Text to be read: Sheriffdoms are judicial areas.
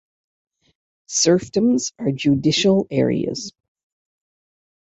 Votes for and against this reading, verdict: 0, 2, rejected